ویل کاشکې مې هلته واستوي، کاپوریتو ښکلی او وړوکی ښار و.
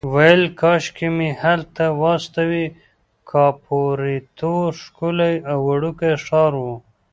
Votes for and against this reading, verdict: 1, 2, rejected